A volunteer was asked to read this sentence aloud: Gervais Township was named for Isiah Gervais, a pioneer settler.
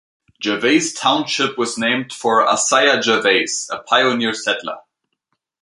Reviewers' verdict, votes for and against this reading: accepted, 2, 0